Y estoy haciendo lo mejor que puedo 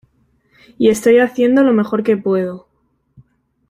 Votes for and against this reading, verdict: 2, 0, accepted